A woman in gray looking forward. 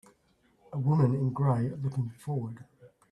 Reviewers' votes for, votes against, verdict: 2, 1, accepted